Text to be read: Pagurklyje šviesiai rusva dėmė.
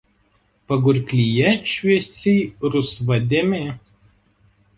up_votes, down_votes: 2, 1